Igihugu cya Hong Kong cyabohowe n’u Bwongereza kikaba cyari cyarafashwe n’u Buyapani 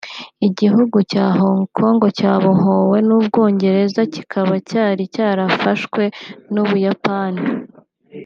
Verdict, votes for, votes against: accepted, 2, 0